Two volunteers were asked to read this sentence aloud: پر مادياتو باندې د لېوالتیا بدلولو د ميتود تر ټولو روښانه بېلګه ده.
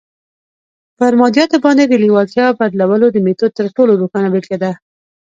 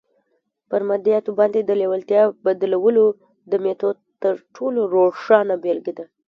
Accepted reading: second